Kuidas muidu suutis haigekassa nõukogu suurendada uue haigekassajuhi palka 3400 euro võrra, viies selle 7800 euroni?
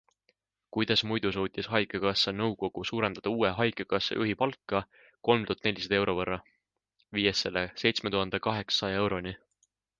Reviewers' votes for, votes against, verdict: 0, 2, rejected